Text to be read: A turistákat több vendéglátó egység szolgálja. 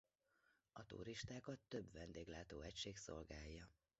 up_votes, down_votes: 1, 2